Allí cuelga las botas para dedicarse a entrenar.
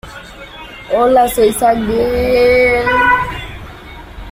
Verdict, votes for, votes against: rejected, 1, 2